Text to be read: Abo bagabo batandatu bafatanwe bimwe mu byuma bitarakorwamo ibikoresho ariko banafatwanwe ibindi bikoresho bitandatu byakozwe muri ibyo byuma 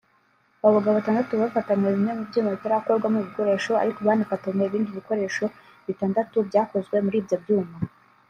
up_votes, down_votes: 2, 0